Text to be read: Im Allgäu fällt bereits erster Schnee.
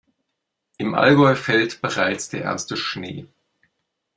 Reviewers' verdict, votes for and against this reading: rejected, 0, 2